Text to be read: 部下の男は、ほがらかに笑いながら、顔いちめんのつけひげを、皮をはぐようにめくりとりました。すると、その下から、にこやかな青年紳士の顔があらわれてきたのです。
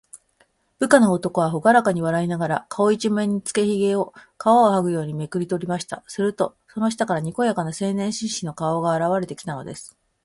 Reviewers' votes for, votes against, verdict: 0, 2, rejected